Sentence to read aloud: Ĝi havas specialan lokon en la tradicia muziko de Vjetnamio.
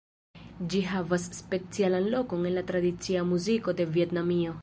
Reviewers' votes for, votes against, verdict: 1, 2, rejected